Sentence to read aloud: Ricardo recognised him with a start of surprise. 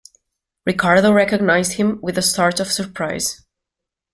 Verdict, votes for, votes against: accepted, 2, 0